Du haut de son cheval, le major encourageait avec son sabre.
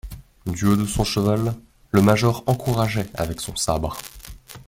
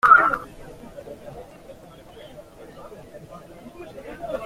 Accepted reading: first